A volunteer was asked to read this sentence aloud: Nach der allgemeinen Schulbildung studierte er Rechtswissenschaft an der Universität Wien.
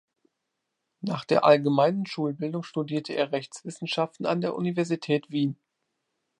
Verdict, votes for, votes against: rejected, 0, 2